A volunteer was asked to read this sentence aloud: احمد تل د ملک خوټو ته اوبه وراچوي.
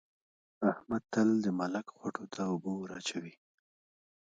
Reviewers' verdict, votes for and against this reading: accepted, 2, 1